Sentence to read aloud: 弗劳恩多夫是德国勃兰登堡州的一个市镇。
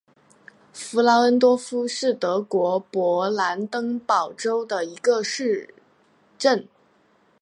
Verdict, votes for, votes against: accepted, 3, 0